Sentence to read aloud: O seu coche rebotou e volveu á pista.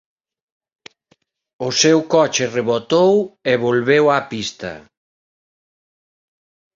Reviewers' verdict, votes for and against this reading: accepted, 2, 0